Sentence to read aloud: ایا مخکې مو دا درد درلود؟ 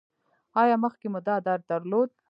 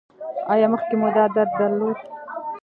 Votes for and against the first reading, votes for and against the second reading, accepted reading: 3, 0, 1, 2, first